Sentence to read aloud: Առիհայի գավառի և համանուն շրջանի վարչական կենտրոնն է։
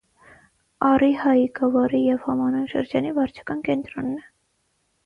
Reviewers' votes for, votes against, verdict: 3, 3, rejected